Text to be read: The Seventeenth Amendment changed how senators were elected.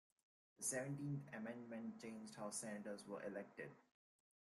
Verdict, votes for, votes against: rejected, 0, 2